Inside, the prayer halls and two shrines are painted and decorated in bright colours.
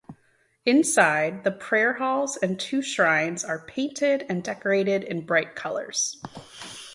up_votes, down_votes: 2, 0